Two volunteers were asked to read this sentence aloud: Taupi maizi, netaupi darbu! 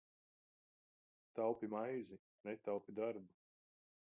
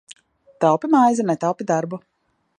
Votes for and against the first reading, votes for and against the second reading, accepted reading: 1, 2, 2, 0, second